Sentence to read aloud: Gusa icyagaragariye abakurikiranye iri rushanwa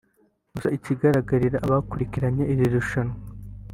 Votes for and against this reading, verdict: 1, 2, rejected